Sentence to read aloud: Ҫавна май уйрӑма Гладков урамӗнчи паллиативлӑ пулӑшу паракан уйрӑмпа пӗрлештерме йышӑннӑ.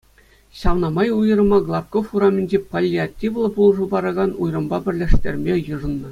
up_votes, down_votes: 2, 0